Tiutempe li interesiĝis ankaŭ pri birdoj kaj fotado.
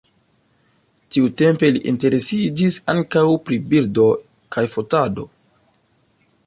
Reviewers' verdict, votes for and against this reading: accepted, 2, 1